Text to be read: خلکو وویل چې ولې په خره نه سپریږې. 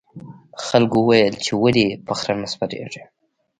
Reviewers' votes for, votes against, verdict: 1, 2, rejected